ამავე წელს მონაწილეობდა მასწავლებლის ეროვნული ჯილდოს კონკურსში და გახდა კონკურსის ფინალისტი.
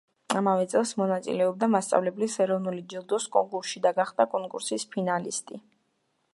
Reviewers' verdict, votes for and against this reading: accepted, 2, 1